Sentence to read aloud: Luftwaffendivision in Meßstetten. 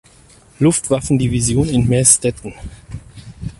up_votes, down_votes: 4, 0